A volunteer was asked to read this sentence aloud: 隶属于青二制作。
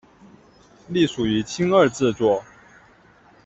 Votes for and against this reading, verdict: 2, 0, accepted